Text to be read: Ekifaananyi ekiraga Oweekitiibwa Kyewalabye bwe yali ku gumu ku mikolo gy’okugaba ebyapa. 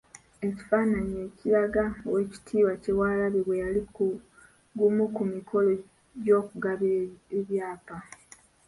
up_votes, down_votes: 2, 0